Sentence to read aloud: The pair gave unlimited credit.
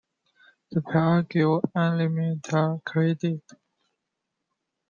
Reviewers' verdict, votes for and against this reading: rejected, 0, 2